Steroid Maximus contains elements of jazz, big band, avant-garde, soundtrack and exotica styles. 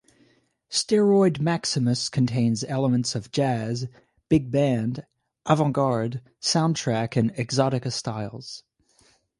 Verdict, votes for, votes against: accepted, 4, 0